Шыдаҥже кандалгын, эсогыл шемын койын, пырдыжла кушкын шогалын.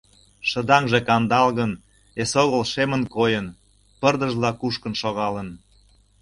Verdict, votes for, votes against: accepted, 2, 0